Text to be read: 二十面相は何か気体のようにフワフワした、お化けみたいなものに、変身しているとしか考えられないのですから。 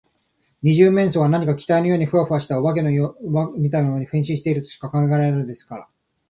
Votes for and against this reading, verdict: 2, 3, rejected